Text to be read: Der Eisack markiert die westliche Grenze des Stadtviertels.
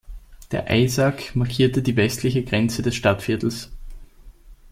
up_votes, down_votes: 1, 2